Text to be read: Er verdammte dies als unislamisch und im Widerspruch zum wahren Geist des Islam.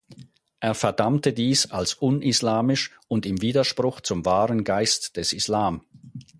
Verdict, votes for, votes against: accepted, 4, 0